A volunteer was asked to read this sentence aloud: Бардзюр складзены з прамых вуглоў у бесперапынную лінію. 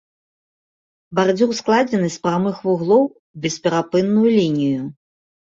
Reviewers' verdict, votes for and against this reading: accepted, 2, 0